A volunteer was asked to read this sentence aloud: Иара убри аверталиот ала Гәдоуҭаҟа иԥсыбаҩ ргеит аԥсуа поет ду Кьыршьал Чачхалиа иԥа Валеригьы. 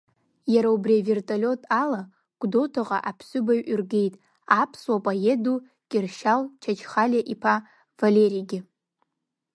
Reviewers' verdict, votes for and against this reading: rejected, 1, 2